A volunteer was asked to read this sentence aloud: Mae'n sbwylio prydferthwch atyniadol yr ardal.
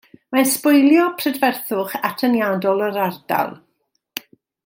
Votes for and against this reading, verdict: 2, 0, accepted